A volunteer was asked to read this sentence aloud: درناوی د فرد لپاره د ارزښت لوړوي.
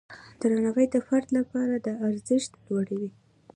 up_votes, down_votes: 2, 0